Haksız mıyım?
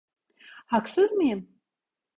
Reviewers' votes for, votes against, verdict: 2, 0, accepted